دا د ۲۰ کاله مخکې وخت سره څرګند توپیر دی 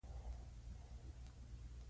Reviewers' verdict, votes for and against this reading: rejected, 0, 2